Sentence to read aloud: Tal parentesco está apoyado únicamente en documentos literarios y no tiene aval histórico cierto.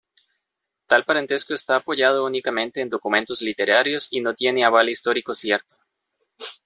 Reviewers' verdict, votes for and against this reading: accepted, 2, 0